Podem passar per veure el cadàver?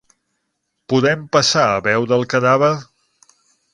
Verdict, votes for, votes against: rejected, 0, 6